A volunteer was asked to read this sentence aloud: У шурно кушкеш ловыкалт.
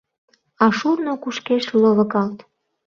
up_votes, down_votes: 0, 2